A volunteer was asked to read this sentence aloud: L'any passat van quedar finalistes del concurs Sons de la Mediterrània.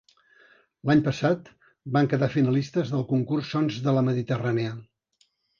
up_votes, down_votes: 3, 0